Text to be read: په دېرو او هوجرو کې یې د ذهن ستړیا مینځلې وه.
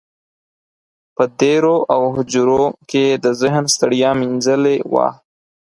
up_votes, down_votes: 4, 0